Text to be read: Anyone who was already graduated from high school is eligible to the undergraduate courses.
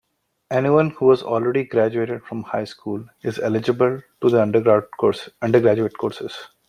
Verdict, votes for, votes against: rejected, 1, 2